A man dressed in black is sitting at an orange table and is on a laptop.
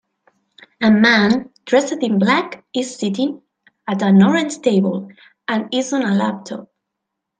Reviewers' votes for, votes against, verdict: 2, 0, accepted